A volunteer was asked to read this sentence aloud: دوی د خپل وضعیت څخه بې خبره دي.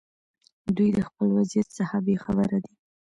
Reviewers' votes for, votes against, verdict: 2, 0, accepted